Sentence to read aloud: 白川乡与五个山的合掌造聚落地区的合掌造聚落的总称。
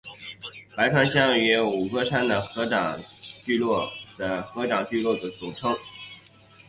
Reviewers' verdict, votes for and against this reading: rejected, 1, 2